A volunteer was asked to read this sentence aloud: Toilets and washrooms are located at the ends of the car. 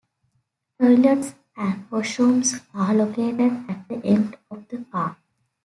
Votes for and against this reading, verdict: 2, 0, accepted